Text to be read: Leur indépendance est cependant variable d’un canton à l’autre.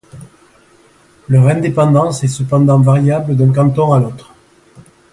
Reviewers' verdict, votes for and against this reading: accepted, 2, 0